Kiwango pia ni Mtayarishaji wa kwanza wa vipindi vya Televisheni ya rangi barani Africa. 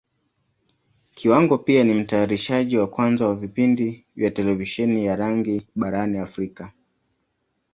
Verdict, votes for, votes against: accepted, 3, 1